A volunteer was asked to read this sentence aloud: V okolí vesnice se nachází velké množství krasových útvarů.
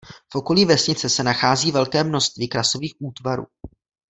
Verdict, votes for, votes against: accepted, 2, 0